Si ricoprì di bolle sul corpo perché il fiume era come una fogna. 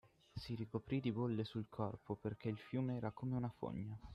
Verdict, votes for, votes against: rejected, 0, 6